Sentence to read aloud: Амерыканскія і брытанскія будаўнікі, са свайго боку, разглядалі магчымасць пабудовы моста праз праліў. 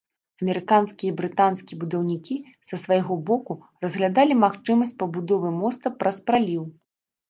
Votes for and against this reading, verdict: 2, 0, accepted